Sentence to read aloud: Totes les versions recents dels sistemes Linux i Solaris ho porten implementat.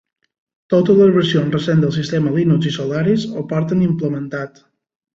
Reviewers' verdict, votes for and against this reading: accepted, 2, 0